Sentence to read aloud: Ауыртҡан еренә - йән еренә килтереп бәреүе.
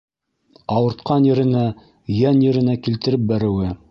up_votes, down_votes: 0, 2